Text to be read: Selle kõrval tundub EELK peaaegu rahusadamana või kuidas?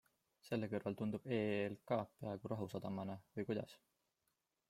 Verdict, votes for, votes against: accepted, 2, 1